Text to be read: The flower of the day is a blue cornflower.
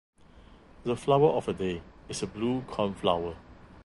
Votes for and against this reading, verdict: 2, 1, accepted